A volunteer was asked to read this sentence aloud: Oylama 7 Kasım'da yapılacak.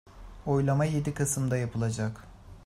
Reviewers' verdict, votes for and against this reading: rejected, 0, 2